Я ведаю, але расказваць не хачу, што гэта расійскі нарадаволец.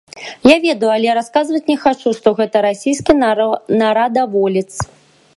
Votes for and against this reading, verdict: 0, 2, rejected